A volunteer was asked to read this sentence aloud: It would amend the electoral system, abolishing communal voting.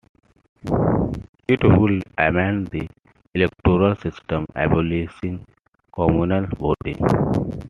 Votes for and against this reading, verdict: 2, 1, accepted